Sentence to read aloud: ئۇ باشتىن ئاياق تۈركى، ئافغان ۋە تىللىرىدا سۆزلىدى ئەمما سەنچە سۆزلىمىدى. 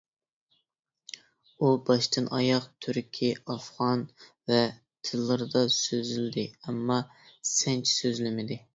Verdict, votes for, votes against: accepted, 2, 1